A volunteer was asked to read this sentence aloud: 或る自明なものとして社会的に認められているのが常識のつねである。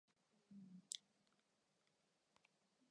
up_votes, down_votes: 2, 4